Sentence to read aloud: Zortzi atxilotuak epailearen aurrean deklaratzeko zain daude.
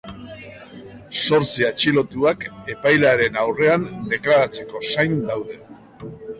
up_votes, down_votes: 2, 0